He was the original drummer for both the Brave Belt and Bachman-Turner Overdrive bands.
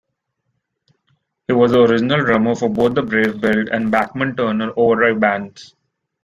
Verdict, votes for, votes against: rejected, 0, 2